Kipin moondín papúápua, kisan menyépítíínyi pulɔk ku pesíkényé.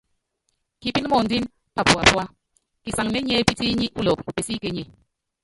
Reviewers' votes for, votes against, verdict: 0, 3, rejected